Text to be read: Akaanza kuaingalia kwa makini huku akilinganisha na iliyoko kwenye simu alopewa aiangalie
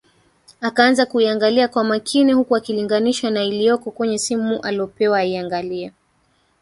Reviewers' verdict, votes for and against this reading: rejected, 1, 2